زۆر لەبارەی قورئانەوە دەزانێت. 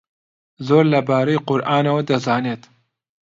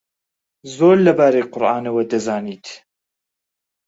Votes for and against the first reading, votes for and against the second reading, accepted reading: 2, 0, 1, 2, first